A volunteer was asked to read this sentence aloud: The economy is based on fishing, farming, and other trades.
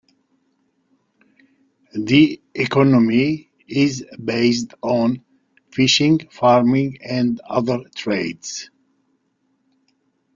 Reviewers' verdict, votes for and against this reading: accepted, 2, 1